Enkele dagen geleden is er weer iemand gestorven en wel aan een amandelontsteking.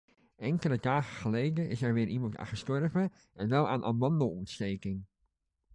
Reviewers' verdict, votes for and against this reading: rejected, 1, 2